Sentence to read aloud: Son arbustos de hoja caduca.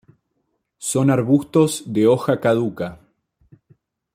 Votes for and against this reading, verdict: 2, 0, accepted